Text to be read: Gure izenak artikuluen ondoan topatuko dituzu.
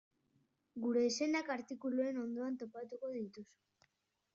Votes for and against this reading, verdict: 2, 0, accepted